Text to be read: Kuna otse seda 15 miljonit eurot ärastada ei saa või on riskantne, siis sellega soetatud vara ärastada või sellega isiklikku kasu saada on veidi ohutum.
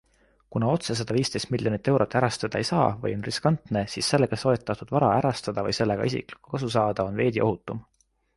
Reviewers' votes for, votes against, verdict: 0, 2, rejected